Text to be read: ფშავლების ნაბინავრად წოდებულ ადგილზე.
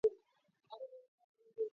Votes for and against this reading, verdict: 0, 2, rejected